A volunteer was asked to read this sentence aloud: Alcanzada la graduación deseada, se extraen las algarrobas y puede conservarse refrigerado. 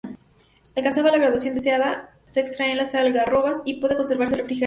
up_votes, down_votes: 0, 4